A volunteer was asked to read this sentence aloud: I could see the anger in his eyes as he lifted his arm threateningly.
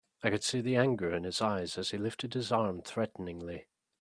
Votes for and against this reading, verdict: 4, 0, accepted